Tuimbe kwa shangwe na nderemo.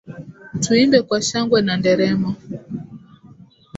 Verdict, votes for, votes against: rejected, 0, 2